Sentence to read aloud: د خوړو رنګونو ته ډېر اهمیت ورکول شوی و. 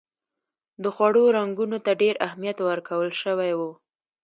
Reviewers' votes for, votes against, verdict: 2, 0, accepted